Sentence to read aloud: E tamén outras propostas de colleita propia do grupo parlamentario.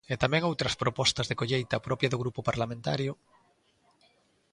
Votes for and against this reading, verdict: 2, 0, accepted